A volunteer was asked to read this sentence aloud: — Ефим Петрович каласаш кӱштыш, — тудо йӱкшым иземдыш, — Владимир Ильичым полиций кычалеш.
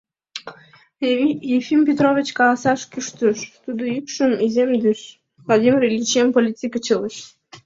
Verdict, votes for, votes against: rejected, 1, 2